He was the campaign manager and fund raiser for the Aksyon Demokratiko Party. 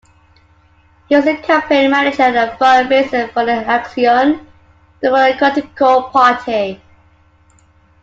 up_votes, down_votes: 2, 1